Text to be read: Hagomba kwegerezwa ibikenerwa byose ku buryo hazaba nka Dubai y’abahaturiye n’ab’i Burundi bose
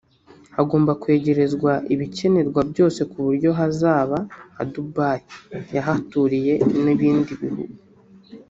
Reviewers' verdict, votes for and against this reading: rejected, 1, 2